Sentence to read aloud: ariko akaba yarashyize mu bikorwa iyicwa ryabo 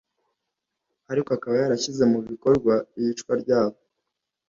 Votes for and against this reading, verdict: 2, 0, accepted